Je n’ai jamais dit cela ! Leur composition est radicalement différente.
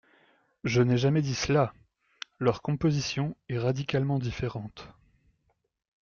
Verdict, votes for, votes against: accepted, 2, 0